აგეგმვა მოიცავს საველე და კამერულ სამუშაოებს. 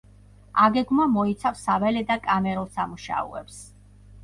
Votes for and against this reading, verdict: 2, 0, accepted